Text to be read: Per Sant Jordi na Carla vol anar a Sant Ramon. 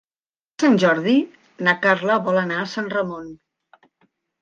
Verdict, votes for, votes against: rejected, 0, 2